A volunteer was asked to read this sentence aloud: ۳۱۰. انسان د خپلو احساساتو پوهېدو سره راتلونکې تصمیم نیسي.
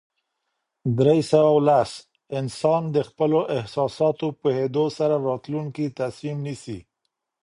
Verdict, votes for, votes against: rejected, 0, 2